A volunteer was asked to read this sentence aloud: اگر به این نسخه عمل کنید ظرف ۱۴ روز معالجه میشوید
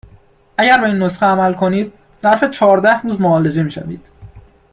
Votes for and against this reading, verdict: 0, 2, rejected